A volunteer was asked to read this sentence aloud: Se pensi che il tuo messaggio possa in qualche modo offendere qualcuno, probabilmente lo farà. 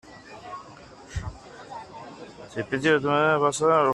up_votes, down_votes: 0, 2